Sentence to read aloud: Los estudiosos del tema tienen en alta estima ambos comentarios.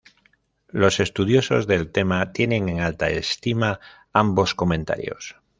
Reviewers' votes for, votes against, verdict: 1, 2, rejected